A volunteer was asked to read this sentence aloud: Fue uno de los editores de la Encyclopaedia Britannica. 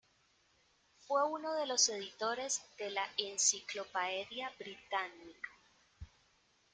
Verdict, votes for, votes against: rejected, 1, 2